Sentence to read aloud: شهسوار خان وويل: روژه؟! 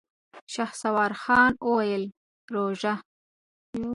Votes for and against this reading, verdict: 2, 0, accepted